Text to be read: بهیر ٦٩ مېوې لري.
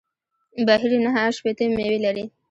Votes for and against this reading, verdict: 0, 2, rejected